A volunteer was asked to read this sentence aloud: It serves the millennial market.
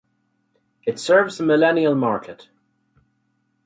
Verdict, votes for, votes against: accepted, 4, 0